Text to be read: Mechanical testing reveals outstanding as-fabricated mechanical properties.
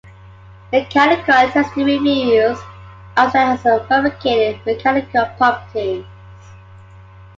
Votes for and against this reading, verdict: 2, 1, accepted